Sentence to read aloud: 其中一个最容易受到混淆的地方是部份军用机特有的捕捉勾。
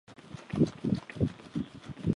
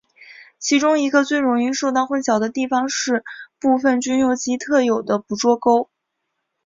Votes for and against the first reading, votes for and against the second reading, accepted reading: 0, 4, 4, 0, second